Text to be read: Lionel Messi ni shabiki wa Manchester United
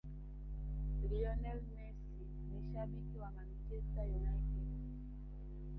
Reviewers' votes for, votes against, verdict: 1, 2, rejected